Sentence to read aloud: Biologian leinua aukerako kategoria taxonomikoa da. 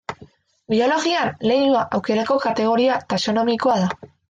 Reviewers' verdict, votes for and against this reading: accepted, 2, 0